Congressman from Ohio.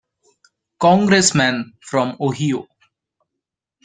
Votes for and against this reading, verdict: 2, 0, accepted